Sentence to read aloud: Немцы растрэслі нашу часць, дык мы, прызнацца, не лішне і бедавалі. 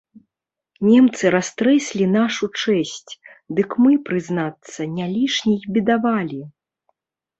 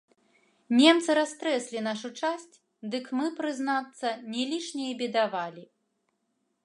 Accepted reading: second